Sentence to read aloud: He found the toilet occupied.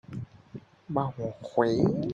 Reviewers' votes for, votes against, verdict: 0, 4, rejected